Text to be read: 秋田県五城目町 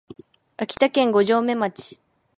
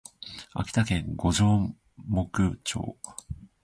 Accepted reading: first